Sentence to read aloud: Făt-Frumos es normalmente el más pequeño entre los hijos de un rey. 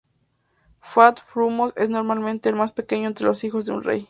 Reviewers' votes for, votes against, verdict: 2, 0, accepted